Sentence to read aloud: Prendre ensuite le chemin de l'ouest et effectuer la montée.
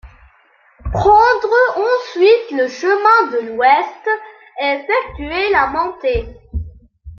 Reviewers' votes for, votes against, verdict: 2, 0, accepted